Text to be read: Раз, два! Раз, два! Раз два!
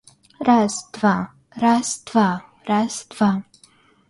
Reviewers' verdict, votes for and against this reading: accepted, 2, 0